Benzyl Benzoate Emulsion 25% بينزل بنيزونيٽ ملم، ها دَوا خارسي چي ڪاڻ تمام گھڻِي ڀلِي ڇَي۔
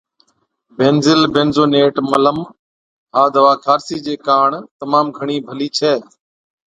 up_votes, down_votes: 0, 2